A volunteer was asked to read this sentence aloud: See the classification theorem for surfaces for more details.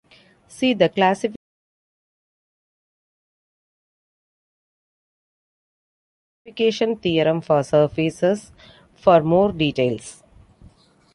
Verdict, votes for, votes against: rejected, 0, 3